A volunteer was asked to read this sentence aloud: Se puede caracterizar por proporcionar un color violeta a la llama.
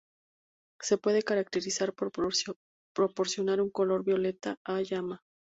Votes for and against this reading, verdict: 2, 4, rejected